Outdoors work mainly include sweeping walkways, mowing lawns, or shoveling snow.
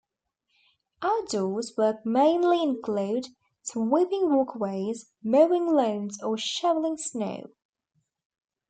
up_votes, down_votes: 1, 2